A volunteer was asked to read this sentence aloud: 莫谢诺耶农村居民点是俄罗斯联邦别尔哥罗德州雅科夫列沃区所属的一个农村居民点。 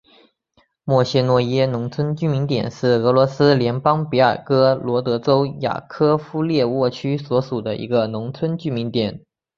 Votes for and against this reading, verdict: 2, 0, accepted